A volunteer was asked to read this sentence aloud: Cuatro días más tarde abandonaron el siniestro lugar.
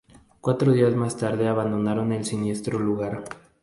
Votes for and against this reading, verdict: 2, 0, accepted